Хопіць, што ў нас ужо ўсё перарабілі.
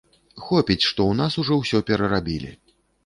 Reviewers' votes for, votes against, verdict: 2, 0, accepted